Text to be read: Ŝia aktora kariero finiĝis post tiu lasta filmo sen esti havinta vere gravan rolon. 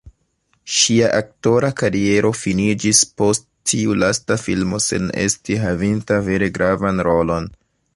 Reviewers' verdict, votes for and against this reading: accepted, 2, 0